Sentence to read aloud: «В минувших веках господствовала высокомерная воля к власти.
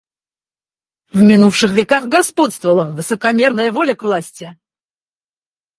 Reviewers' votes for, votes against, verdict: 4, 2, accepted